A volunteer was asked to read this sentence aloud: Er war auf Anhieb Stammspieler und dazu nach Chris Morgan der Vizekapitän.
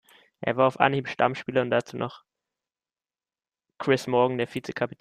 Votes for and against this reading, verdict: 0, 2, rejected